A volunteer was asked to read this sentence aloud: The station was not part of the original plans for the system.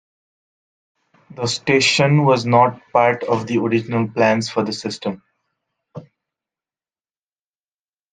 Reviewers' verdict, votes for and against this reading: accepted, 2, 0